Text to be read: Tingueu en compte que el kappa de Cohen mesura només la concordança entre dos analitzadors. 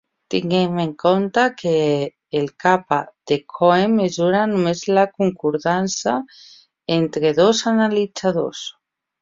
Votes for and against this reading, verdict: 1, 2, rejected